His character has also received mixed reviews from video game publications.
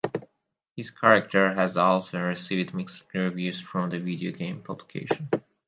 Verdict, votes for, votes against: rejected, 0, 4